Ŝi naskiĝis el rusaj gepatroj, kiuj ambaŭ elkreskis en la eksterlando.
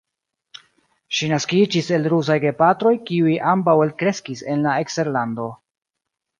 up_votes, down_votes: 1, 2